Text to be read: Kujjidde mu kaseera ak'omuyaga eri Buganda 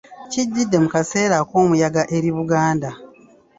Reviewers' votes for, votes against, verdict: 2, 3, rejected